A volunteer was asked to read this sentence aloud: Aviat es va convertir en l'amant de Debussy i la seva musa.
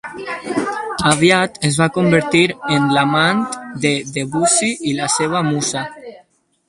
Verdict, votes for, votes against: accepted, 4, 2